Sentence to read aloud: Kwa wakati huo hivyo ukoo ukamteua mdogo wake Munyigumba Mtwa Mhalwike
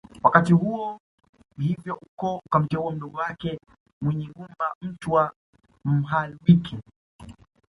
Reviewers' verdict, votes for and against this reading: rejected, 0, 2